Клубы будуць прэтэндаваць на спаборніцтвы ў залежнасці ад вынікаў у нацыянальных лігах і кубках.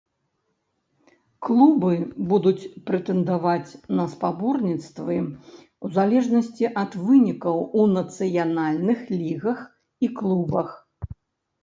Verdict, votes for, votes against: rejected, 0, 2